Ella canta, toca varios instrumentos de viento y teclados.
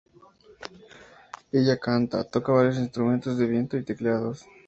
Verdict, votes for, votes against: rejected, 2, 2